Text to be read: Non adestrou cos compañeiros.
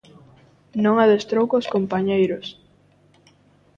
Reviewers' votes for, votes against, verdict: 2, 0, accepted